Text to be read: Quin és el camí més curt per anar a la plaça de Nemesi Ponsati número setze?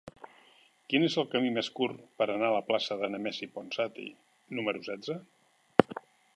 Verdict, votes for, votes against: accepted, 3, 0